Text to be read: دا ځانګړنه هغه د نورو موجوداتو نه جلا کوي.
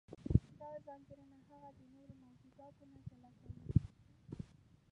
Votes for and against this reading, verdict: 1, 2, rejected